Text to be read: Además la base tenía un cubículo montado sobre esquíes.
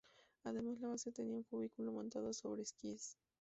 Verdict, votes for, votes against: rejected, 2, 2